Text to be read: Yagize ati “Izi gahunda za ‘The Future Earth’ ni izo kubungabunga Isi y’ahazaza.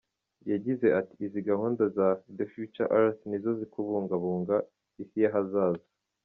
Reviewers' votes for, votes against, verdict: 2, 1, accepted